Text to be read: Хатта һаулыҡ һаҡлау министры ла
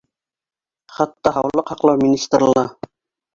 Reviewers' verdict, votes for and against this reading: rejected, 0, 2